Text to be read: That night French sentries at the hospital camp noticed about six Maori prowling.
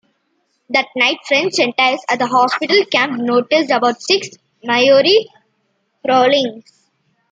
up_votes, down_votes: 2, 0